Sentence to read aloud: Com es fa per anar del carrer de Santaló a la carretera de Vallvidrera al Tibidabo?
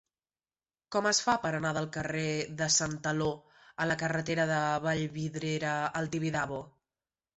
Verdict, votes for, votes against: rejected, 1, 2